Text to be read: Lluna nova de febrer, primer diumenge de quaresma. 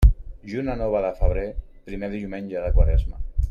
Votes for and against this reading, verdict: 2, 1, accepted